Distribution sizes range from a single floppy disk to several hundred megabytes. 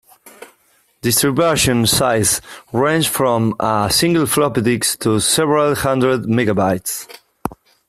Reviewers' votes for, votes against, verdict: 1, 2, rejected